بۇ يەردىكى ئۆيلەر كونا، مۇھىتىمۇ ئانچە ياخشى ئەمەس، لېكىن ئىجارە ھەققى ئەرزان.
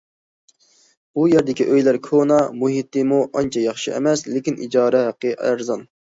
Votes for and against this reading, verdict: 2, 0, accepted